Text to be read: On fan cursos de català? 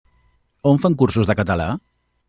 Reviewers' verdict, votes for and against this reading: accepted, 3, 0